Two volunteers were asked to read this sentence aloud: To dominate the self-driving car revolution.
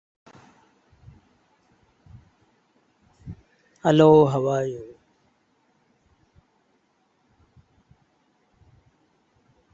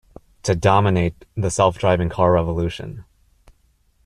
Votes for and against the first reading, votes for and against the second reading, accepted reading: 0, 2, 2, 0, second